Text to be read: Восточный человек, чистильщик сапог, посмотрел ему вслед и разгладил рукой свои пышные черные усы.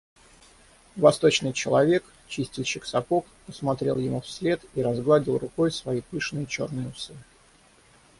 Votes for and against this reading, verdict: 6, 0, accepted